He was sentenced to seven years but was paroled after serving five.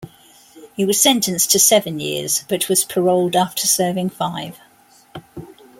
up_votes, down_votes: 2, 0